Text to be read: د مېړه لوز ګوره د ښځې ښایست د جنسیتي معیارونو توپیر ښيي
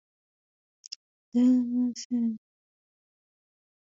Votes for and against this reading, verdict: 1, 2, rejected